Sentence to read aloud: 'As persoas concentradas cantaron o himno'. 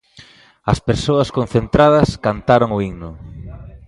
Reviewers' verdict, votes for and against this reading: accepted, 2, 0